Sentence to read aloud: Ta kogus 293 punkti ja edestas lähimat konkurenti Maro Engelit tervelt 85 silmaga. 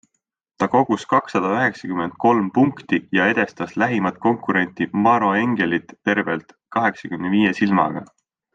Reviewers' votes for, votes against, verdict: 0, 2, rejected